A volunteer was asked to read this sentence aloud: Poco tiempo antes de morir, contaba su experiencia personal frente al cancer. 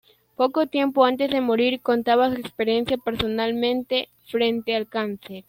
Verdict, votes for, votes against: rejected, 0, 2